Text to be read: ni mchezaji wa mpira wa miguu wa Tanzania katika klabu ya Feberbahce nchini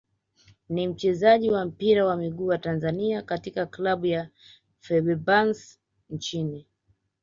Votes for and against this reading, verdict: 2, 1, accepted